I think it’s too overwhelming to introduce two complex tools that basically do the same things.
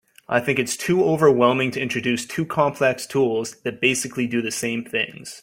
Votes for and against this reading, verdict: 2, 0, accepted